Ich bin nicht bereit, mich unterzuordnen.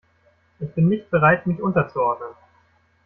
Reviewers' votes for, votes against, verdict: 1, 2, rejected